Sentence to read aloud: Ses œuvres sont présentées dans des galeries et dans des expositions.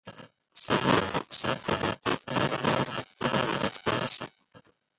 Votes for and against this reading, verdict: 0, 2, rejected